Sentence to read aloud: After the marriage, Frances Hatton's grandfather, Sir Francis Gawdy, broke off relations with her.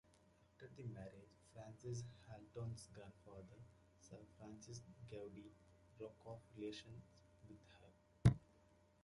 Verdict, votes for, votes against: rejected, 1, 2